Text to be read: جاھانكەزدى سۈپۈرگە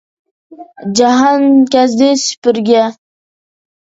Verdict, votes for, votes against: rejected, 1, 2